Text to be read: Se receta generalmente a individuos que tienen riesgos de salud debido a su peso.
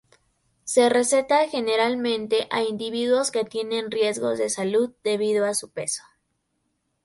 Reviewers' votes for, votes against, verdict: 2, 0, accepted